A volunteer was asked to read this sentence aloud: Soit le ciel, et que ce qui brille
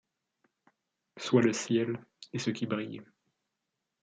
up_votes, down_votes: 0, 2